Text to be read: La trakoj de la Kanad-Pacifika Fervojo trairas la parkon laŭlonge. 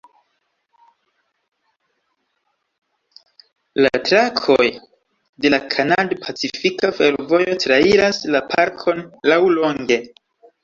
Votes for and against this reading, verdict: 1, 2, rejected